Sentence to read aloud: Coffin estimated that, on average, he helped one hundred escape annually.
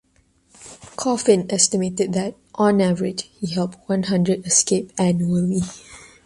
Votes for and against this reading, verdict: 1, 2, rejected